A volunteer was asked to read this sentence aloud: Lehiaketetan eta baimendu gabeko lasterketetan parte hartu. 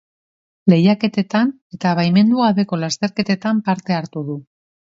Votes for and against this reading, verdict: 0, 2, rejected